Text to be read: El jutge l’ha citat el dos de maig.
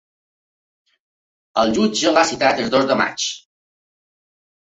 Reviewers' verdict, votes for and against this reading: accepted, 2, 1